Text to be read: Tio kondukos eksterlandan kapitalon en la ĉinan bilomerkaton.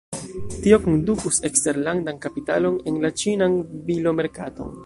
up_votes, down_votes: 1, 2